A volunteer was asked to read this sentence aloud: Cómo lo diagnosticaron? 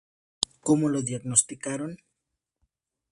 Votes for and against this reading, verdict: 2, 0, accepted